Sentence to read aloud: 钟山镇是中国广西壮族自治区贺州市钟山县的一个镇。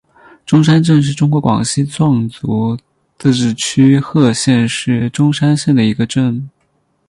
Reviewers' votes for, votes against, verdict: 2, 6, rejected